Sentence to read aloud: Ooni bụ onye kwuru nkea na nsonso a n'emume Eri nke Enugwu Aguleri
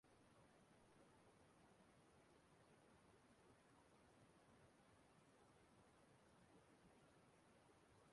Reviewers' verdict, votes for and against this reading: rejected, 0, 2